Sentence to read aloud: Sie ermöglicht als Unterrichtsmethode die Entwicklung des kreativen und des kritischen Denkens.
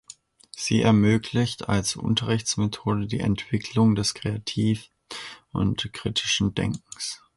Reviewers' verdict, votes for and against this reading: rejected, 0, 2